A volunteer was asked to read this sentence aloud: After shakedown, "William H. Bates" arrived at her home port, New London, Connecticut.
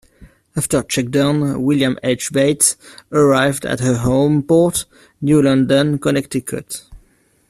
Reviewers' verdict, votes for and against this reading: accepted, 2, 0